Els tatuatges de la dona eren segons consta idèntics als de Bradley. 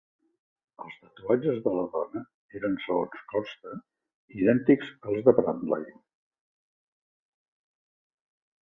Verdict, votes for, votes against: rejected, 1, 2